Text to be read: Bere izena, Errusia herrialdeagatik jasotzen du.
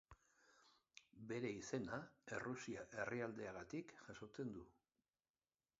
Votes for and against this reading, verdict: 2, 0, accepted